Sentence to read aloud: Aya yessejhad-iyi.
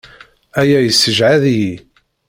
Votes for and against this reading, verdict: 1, 2, rejected